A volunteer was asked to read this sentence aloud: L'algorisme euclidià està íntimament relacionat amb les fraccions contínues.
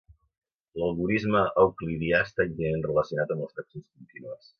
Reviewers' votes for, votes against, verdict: 0, 2, rejected